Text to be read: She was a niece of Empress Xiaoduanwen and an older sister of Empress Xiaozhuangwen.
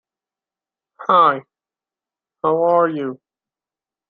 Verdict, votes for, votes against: rejected, 0, 2